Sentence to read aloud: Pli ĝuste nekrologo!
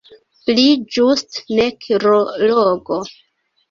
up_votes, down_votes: 1, 2